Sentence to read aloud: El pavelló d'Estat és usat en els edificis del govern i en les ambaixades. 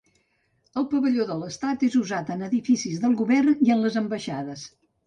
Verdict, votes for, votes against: rejected, 1, 2